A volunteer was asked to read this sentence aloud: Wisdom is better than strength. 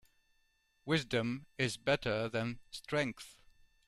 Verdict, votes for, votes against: accepted, 2, 0